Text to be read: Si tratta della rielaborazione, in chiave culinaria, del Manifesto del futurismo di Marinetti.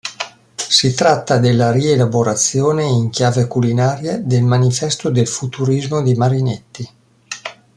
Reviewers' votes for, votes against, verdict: 2, 0, accepted